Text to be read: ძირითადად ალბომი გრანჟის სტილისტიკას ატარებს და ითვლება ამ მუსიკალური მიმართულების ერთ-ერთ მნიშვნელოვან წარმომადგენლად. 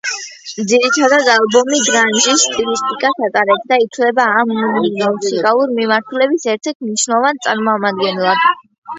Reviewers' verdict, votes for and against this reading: rejected, 0, 2